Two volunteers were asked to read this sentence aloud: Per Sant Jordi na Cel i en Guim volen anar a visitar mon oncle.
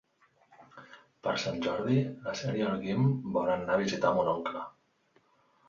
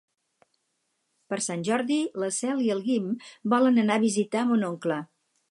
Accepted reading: first